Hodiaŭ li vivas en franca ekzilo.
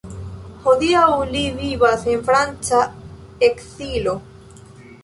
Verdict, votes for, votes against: rejected, 1, 3